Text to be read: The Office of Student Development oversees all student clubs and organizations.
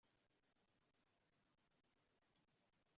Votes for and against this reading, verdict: 0, 2, rejected